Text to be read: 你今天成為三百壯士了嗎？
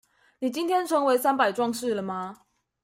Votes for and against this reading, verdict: 2, 0, accepted